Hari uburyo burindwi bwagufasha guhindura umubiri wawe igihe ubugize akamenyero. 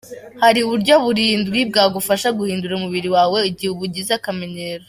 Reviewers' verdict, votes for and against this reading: accepted, 2, 1